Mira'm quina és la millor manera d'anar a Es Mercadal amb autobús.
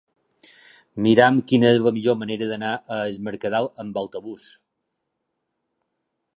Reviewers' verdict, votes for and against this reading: accepted, 3, 0